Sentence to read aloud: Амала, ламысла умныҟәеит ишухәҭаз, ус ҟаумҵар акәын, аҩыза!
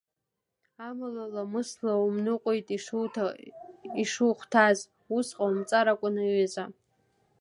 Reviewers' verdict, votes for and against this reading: rejected, 0, 2